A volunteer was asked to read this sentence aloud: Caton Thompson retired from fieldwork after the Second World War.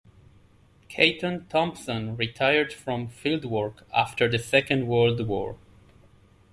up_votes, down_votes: 2, 0